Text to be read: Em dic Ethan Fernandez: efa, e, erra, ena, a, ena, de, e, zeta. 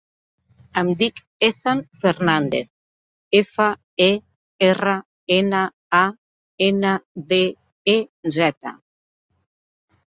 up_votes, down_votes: 2, 0